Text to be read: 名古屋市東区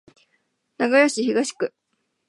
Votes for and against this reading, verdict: 2, 0, accepted